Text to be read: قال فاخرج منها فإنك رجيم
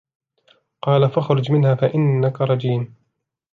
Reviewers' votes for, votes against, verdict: 2, 0, accepted